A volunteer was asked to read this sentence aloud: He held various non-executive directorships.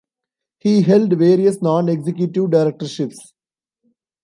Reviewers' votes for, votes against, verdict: 1, 2, rejected